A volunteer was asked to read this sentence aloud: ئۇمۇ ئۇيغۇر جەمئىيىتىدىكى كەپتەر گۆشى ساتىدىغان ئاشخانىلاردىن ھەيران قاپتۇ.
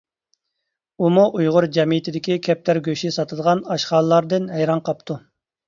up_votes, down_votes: 2, 0